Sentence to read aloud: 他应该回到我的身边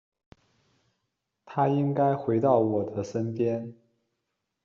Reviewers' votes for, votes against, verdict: 2, 0, accepted